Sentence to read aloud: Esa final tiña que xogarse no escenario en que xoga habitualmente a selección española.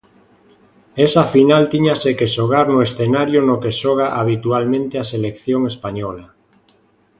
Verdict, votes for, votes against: rejected, 0, 2